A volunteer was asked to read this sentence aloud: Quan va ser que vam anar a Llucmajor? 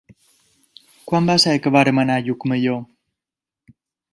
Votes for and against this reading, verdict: 2, 1, accepted